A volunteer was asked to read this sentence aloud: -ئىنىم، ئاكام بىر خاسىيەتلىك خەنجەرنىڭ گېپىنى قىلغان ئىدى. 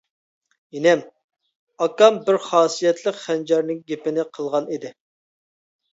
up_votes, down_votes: 2, 0